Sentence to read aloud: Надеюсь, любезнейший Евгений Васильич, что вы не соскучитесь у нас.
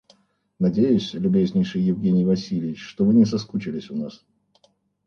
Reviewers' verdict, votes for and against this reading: rejected, 0, 2